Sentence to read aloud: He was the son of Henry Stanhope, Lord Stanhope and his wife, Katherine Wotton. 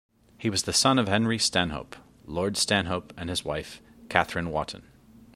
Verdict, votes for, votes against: accepted, 2, 0